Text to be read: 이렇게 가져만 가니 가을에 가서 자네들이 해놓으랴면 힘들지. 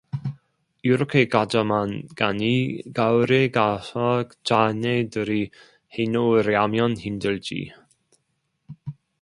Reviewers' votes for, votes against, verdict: 0, 2, rejected